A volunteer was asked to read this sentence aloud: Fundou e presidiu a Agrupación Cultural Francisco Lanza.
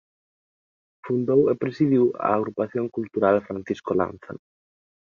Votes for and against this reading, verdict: 2, 1, accepted